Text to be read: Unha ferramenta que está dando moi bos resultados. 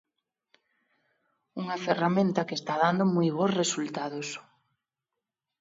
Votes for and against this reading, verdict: 2, 0, accepted